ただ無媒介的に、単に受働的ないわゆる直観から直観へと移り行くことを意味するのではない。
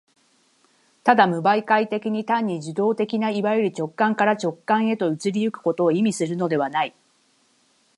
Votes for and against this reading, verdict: 6, 3, accepted